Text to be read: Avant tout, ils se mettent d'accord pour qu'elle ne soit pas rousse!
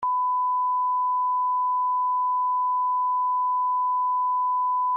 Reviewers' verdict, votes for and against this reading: rejected, 0, 2